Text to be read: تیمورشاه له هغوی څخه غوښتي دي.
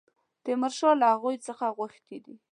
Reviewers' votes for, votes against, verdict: 2, 0, accepted